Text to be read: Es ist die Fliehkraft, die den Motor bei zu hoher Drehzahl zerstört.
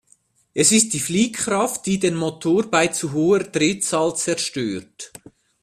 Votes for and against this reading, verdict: 2, 0, accepted